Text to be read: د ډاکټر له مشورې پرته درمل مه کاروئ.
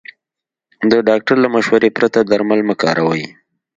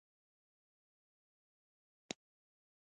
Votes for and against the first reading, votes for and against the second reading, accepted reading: 2, 0, 0, 2, first